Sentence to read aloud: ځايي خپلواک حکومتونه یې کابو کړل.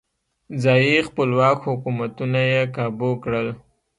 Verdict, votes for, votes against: rejected, 1, 2